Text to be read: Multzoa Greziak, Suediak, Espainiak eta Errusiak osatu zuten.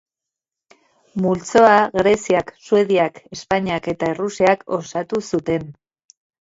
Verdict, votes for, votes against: accepted, 2, 0